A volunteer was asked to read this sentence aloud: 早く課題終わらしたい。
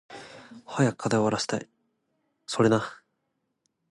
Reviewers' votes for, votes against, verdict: 1, 2, rejected